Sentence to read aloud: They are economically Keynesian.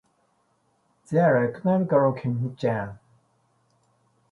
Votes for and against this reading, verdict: 0, 2, rejected